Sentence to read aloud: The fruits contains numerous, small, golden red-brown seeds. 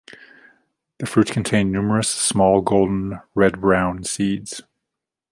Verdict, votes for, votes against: accepted, 2, 0